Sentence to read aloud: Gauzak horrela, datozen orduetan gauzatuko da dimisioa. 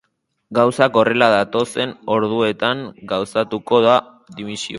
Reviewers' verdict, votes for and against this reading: rejected, 0, 2